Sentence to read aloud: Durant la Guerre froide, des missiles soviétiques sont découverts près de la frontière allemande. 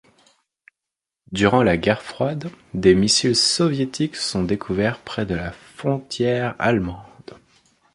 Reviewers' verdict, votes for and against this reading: rejected, 1, 2